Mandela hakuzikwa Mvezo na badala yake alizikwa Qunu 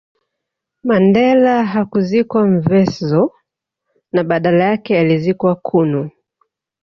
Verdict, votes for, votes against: rejected, 1, 2